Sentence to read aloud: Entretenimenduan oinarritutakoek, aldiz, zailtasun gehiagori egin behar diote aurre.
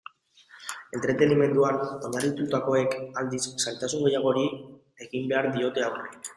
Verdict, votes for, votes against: accepted, 2, 1